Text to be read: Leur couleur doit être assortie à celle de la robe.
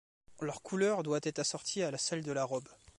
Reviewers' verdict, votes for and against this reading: rejected, 0, 2